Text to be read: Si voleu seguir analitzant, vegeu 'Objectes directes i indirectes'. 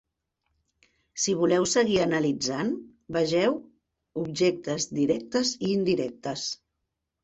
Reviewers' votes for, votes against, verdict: 3, 0, accepted